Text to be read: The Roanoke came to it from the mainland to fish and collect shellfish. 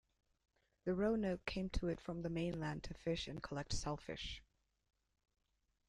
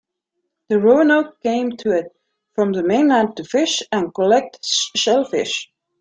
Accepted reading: first